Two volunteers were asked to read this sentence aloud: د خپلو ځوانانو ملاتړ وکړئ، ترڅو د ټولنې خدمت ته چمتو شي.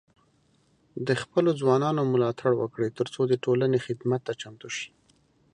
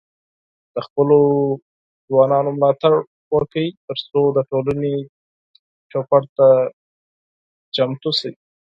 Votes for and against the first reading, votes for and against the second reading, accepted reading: 3, 0, 0, 4, first